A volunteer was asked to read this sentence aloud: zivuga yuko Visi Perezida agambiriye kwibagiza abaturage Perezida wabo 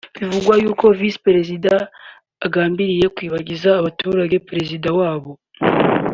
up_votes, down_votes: 2, 1